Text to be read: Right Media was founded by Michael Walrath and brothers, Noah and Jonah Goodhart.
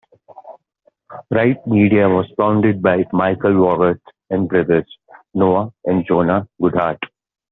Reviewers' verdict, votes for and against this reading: accepted, 2, 0